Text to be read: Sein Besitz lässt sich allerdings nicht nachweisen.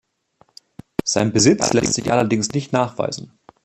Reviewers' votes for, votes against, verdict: 2, 0, accepted